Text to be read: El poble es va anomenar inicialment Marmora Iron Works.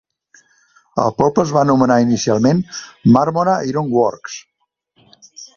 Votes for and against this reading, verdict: 2, 0, accepted